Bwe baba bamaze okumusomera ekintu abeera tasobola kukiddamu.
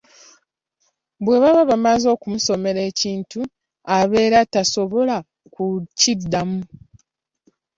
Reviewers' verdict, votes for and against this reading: accepted, 2, 0